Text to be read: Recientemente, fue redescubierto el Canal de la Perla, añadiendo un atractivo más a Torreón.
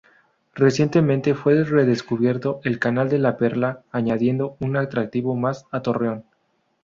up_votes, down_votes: 0, 2